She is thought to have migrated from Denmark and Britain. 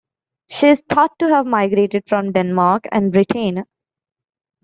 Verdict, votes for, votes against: accepted, 2, 0